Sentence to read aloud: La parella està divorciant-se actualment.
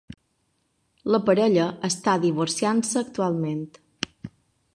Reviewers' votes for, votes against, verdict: 3, 0, accepted